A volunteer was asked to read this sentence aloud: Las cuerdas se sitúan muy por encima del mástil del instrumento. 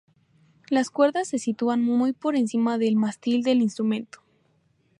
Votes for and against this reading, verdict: 2, 0, accepted